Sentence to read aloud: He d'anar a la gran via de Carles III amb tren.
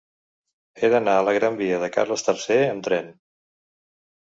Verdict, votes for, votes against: accepted, 2, 0